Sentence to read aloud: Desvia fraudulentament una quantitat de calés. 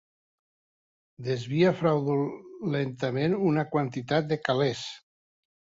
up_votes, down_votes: 3, 0